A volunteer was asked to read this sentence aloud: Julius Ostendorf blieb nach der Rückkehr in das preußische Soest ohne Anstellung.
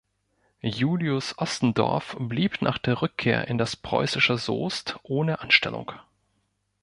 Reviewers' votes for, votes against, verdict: 2, 0, accepted